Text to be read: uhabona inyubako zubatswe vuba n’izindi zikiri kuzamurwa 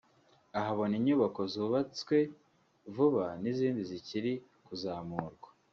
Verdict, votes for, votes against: rejected, 1, 2